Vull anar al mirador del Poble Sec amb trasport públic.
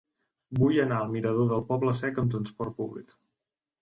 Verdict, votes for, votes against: accepted, 2, 0